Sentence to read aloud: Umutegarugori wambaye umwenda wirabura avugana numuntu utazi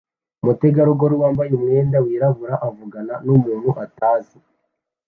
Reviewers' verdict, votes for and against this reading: accepted, 2, 1